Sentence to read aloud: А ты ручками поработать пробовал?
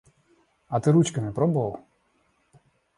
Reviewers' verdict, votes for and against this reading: rejected, 0, 2